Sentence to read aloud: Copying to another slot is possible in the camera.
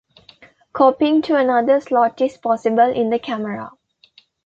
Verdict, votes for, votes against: accepted, 2, 0